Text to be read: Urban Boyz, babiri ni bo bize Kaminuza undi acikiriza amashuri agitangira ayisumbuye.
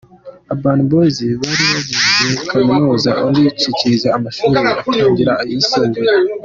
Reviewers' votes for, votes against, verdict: 2, 1, accepted